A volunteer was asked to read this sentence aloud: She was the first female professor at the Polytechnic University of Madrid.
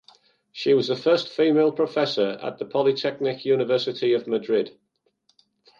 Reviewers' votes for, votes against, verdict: 2, 0, accepted